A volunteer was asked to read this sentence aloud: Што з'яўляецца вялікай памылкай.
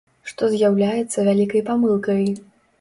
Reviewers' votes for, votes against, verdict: 2, 0, accepted